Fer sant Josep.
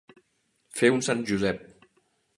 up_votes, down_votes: 0, 2